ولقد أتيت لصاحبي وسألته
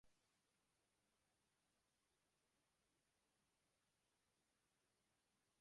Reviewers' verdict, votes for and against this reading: rejected, 0, 2